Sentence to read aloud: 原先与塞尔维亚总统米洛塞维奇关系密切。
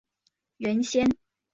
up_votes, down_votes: 0, 4